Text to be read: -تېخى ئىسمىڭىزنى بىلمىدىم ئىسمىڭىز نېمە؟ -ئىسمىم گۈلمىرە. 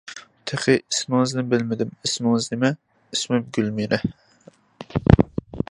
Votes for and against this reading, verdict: 2, 0, accepted